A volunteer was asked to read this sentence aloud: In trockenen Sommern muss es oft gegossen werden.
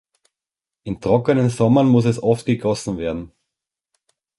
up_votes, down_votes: 4, 0